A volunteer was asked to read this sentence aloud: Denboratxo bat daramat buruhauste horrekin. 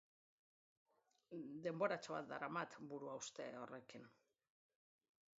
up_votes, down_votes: 2, 0